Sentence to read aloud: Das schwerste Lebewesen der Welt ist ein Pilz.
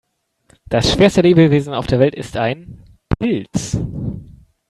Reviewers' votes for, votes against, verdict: 2, 3, rejected